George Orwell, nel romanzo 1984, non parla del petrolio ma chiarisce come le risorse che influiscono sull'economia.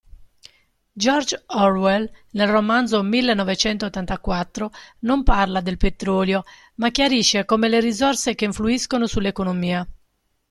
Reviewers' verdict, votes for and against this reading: rejected, 0, 2